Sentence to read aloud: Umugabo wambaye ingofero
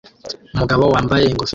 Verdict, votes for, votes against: rejected, 1, 2